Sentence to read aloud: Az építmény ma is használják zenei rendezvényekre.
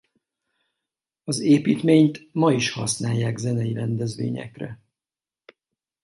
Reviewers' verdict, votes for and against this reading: rejected, 0, 4